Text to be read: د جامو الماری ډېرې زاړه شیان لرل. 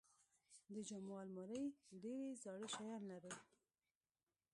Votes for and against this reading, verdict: 0, 2, rejected